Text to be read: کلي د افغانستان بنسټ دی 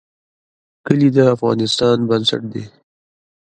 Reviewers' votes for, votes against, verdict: 2, 0, accepted